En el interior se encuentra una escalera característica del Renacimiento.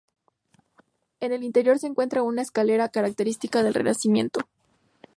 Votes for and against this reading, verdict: 2, 0, accepted